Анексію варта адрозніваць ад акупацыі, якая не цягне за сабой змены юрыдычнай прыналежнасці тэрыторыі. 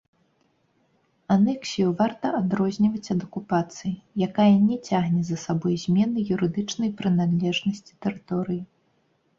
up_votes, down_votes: 1, 2